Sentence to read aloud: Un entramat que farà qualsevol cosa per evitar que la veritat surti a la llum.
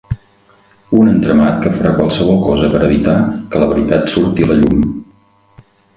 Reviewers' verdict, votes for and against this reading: accepted, 4, 0